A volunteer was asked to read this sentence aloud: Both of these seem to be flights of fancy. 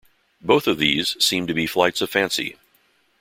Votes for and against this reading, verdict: 2, 0, accepted